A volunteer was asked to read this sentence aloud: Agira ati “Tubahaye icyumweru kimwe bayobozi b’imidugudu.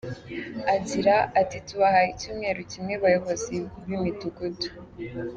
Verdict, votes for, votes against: accepted, 2, 0